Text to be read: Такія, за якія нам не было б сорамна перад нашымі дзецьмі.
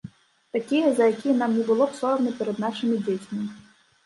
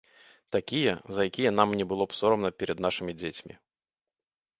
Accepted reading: second